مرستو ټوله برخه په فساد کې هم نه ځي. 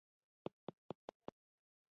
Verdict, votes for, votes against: rejected, 0, 2